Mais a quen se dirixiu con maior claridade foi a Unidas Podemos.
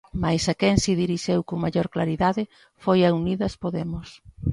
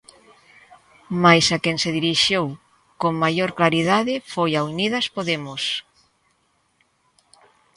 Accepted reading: second